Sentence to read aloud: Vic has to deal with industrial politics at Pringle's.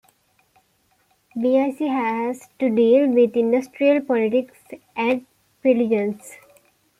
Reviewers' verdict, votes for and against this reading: accepted, 2, 0